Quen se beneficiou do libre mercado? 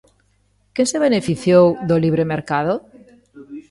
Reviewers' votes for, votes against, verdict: 0, 2, rejected